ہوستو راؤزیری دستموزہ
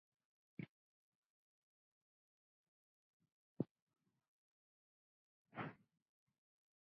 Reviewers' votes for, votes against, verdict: 0, 2, rejected